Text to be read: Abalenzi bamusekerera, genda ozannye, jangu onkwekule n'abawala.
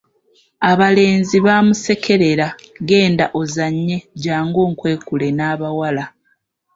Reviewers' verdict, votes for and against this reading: rejected, 0, 2